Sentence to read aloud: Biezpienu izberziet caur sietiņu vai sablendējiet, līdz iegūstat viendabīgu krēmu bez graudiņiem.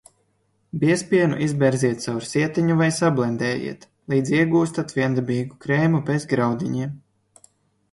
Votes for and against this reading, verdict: 2, 0, accepted